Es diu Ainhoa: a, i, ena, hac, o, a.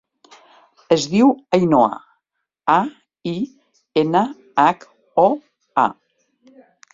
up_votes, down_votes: 2, 0